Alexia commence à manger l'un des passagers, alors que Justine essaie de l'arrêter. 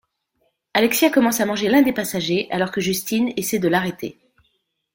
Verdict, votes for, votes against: accepted, 2, 1